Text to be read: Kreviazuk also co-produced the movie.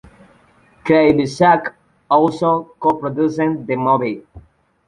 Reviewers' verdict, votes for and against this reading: accepted, 2, 1